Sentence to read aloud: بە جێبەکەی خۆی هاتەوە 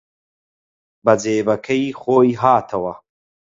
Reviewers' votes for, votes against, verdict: 4, 0, accepted